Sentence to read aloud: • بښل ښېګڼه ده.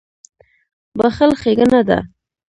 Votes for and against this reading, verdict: 1, 2, rejected